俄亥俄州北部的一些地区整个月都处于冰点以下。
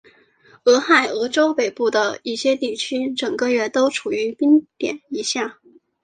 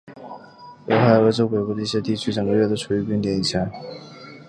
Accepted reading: first